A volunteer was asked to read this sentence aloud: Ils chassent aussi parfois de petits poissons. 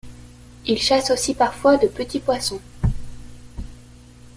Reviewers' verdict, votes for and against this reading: accepted, 2, 0